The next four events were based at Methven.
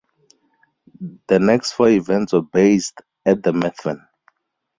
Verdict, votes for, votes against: rejected, 2, 2